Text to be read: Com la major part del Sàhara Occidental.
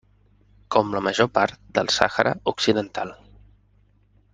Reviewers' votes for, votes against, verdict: 3, 0, accepted